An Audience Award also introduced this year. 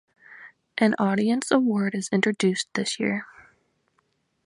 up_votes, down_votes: 1, 2